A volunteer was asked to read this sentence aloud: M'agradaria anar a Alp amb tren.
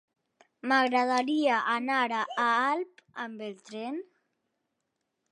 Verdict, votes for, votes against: rejected, 0, 2